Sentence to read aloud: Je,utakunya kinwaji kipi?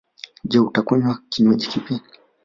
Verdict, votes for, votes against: rejected, 1, 3